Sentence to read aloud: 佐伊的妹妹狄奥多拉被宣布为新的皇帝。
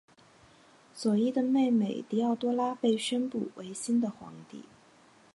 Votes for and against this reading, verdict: 3, 1, accepted